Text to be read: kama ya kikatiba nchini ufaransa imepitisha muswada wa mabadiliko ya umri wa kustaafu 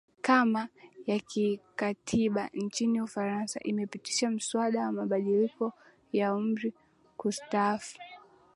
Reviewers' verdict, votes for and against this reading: rejected, 0, 2